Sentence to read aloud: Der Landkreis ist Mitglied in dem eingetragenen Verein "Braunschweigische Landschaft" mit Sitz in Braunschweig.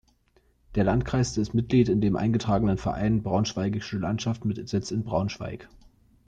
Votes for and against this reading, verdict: 2, 0, accepted